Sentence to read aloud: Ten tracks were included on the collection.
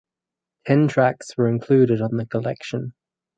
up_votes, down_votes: 2, 2